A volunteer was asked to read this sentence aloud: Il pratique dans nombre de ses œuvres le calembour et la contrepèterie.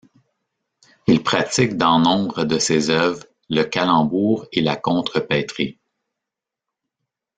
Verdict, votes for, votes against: rejected, 1, 2